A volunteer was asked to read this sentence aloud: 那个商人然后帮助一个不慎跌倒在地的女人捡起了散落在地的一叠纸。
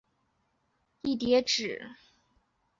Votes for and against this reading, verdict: 2, 0, accepted